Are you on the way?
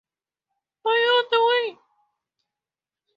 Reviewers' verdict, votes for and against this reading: rejected, 0, 4